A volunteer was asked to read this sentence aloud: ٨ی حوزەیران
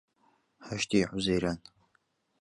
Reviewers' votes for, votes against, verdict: 0, 2, rejected